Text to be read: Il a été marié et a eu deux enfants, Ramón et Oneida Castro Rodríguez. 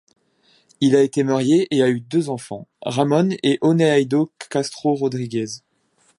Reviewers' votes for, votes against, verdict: 0, 2, rejected